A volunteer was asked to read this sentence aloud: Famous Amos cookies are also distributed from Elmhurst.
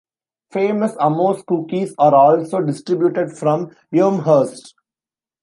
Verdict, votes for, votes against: rejected, 1, 2